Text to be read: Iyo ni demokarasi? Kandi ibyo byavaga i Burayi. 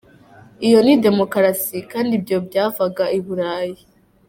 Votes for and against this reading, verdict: 1, 2, rejected